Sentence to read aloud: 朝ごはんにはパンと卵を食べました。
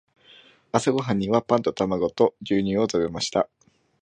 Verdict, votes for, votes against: rejected, 0, 2